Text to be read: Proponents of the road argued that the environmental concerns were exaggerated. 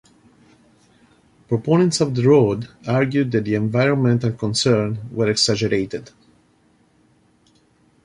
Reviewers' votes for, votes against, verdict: 2, 0, accepted